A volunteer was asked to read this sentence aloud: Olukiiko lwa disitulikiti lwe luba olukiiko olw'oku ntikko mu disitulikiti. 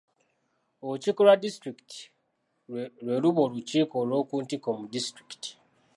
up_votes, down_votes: 2, 1